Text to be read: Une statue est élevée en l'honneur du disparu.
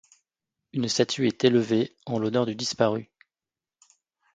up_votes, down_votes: 2, 0